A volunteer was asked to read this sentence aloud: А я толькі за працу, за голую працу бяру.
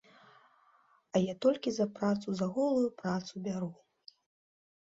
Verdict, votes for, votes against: accepted, 2, 0